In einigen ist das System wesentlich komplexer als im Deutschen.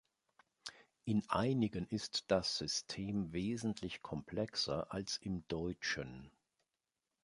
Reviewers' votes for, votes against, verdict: 2, 0, accepted